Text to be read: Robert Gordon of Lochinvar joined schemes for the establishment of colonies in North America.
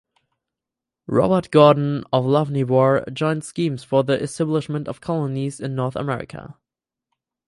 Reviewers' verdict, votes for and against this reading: accepted, 4, 0